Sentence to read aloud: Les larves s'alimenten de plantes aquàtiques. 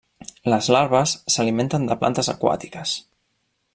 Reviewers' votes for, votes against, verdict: 3, 0, accepted